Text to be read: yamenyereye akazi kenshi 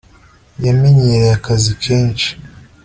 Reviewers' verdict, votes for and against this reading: accepted, 2, 0